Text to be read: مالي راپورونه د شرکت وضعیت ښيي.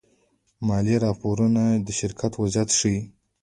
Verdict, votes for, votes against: accepted, 2, 0